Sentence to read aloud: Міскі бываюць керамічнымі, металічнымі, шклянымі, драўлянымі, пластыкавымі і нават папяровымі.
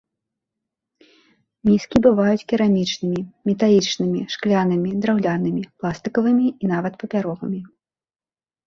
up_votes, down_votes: 2, 0